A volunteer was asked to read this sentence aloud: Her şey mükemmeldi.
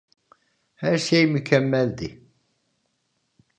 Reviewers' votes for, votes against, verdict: 2, 0, accepted